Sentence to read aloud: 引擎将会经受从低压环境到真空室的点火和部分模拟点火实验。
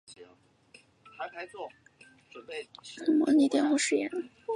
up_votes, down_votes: 0, 2